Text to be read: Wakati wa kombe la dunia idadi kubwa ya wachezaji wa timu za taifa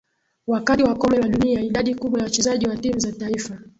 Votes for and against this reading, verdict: 0, 2, rejected